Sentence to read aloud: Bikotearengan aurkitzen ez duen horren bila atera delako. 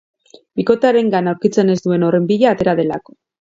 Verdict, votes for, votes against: accepted, 2, 0